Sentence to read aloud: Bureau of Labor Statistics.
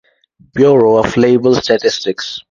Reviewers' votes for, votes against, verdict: 2, 2, rejected